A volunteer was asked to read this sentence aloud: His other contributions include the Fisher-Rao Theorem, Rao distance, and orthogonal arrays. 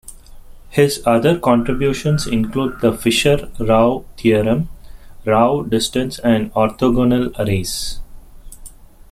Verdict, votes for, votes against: rejected, 1, 2